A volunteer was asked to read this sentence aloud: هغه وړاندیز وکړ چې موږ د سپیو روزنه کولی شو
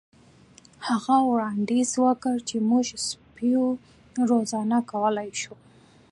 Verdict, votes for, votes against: accepted, 2, 0